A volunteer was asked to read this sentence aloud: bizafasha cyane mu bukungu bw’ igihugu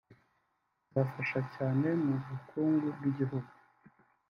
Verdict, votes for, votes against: rejected, 0, 2